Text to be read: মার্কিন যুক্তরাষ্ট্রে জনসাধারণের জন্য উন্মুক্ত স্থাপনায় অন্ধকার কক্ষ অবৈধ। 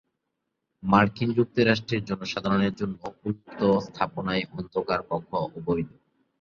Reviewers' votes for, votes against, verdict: 4, 2, accepted